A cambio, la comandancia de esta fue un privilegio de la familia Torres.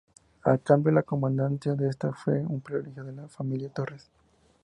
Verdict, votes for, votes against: accepted, 2, 0